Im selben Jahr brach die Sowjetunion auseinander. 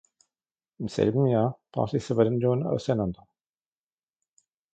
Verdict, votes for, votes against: rejected, 0, 2